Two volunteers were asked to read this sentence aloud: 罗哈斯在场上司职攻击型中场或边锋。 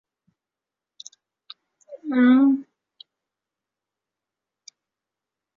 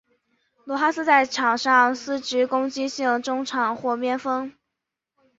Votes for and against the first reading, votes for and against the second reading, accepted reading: 0, 2, 4, 0, second